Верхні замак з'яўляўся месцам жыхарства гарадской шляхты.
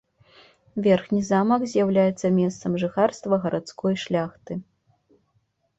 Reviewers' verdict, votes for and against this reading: rejected, 2, 3